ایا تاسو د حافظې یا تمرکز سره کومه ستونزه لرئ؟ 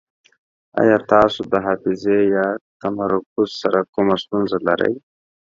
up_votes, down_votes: 2, 0